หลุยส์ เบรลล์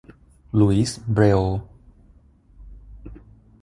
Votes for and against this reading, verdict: 6, 0, accepted